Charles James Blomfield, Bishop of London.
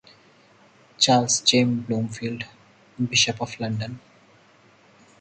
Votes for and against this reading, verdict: 4, 2, accepted